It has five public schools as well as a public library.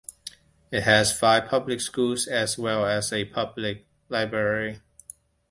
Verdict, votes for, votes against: accepted, 2, 0